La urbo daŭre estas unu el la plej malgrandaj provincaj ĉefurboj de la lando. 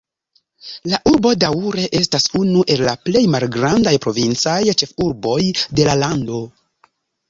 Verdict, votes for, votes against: rejected, 1, 2